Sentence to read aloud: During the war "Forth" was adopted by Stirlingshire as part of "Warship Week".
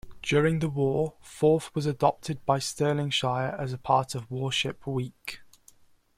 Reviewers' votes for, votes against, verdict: 2, 0, accepted